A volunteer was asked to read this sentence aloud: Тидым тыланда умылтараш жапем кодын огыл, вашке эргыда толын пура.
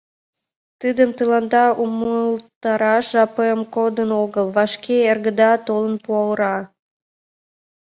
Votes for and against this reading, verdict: 2, 1, accepted